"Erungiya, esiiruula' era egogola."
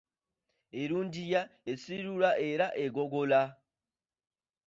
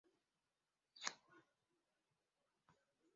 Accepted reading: first